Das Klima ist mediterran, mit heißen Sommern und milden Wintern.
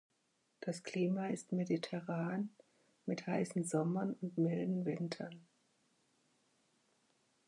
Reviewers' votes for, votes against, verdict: 6, 3, accepted